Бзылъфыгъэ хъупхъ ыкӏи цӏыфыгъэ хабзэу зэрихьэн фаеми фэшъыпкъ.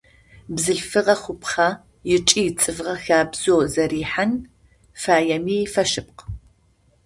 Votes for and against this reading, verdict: 0, 2, rejected